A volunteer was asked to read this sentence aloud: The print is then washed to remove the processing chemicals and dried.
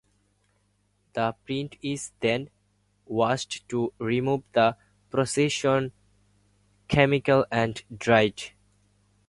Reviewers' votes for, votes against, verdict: 2, 4, rejected